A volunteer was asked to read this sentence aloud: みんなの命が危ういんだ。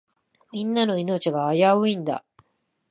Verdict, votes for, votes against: accepted, 2, 0